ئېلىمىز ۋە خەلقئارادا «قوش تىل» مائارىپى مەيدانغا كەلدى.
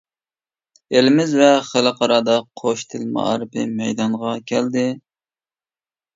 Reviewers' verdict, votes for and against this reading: accepted, 2, 0